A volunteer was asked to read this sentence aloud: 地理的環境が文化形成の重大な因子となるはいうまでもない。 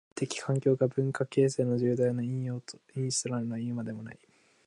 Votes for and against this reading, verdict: 2, 5, rejected